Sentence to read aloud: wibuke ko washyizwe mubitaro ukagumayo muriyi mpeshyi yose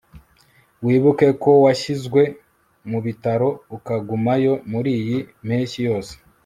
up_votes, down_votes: 0, 2